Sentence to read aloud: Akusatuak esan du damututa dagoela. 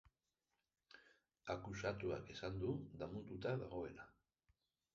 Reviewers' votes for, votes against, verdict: 1, 2, rejected